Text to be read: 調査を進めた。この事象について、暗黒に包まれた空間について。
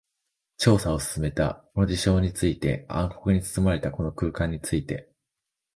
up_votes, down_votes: 1, 2